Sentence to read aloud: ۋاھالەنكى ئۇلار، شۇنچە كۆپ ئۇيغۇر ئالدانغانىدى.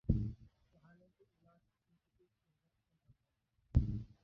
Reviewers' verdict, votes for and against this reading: rejected, 0, 2